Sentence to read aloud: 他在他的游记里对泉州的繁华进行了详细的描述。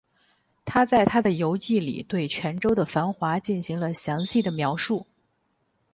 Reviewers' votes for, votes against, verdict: 12, 0, accepted